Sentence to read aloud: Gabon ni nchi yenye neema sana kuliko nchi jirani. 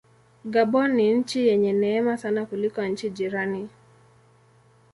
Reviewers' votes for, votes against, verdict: 2, 0, accepted